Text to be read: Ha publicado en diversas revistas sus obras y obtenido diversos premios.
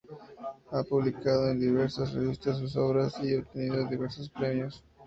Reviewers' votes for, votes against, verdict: 2, 0, accepted